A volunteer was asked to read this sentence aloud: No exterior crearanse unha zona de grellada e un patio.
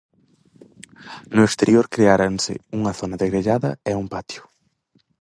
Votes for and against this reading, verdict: 2, 2, rejected